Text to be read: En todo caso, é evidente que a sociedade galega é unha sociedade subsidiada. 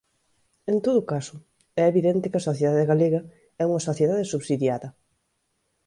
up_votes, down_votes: 2, 0